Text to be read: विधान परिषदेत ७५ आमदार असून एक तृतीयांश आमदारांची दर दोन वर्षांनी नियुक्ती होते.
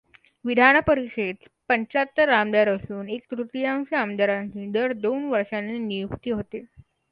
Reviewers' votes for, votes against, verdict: 0, 2, rejected